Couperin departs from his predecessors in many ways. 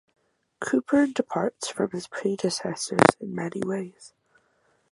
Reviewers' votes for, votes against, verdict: 4, 0, accepted